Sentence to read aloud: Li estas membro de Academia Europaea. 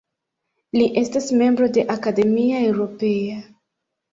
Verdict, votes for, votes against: rejected, 0, 3